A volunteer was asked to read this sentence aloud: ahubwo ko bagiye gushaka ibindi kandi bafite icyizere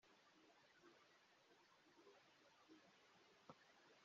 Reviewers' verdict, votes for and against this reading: rejected, 0, 2